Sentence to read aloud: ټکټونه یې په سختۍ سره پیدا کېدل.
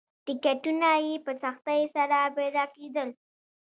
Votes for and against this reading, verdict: 0, 2, rejected